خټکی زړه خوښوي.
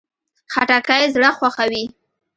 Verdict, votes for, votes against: rejected, 1, 2